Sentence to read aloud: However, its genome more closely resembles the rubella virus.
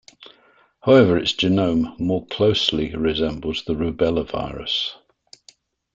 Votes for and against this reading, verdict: 2, 0, accepted